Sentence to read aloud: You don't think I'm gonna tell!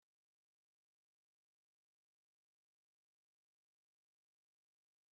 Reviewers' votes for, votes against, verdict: 0, 2, rejected